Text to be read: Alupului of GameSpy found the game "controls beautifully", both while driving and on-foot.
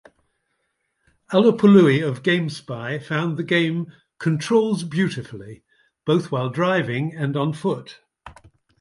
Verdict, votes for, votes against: accepted, 2, 0